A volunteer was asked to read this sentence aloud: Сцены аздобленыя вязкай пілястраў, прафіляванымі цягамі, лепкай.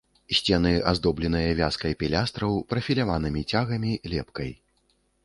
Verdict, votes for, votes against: accepted, 2, 0